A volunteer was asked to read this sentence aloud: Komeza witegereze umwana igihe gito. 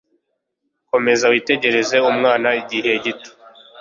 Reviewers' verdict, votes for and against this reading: accepted, 2, 0